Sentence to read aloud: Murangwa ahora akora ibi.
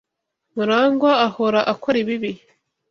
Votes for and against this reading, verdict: 1, 2, rejected